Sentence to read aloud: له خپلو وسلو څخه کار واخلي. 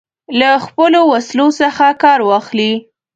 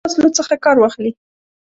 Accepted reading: first